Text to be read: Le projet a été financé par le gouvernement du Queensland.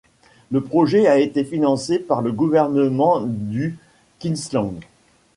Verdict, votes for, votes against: rejected, 0, 2